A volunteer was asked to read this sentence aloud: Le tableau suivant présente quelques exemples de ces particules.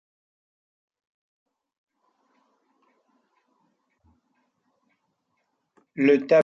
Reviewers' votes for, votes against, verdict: 0, 2, rejected